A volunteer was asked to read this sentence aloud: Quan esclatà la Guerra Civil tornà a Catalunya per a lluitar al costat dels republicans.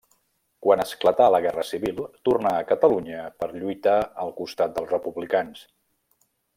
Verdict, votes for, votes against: rejected, 0, 2